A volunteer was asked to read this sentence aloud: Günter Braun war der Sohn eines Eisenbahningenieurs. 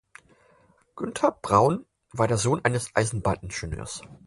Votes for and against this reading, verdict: 4, 0, accepted